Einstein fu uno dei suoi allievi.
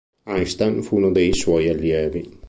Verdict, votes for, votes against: accepted, 3, 0